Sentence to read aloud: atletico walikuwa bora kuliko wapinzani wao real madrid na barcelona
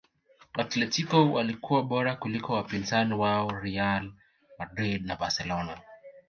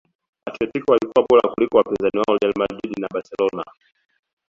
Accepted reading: first